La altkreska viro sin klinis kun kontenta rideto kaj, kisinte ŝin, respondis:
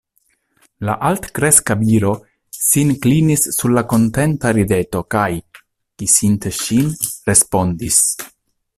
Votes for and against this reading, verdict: 0, 2, rejected